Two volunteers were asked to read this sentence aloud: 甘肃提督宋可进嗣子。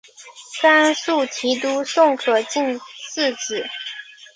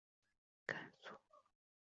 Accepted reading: first